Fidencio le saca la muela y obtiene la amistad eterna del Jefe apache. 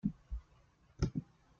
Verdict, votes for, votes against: rejected, 1, 2